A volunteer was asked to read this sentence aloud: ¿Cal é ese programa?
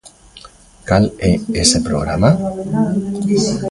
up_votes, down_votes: 1, 2